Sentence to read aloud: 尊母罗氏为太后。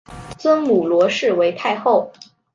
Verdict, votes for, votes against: accepted, 2, 0